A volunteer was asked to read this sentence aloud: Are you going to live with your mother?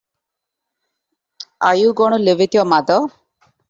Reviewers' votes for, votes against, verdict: 0, 2, rejected